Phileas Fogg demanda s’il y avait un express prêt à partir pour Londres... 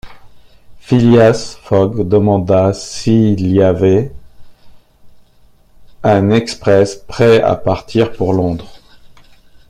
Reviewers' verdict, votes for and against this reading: rejected, 0, 2